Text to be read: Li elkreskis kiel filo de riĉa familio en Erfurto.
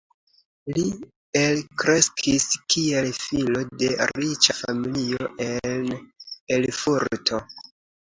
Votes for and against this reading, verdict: 2, 0, accepted